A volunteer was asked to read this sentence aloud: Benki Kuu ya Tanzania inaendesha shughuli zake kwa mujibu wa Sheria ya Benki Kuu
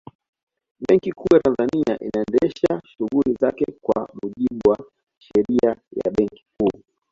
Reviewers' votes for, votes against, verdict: 2, 0, accepted